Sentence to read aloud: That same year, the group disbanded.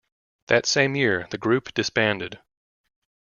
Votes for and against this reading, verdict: 2, 0, accepted